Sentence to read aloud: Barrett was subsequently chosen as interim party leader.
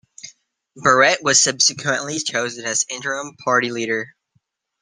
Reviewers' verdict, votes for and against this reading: rejected, 1, 2